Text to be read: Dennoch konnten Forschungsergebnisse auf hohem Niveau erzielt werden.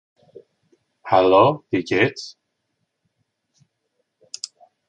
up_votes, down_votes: 0, 2